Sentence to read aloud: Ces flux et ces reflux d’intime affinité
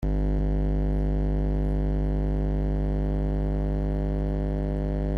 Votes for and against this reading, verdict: 0, 2, rejected